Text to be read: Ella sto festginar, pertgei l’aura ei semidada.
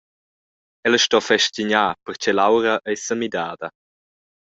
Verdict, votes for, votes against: rejected, 1, 2